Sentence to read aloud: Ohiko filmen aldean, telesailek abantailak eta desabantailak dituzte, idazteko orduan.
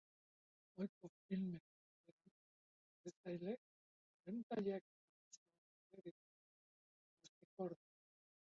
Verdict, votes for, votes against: rejected, 0, 4